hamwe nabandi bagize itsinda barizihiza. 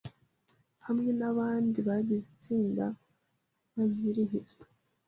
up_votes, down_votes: 0, 2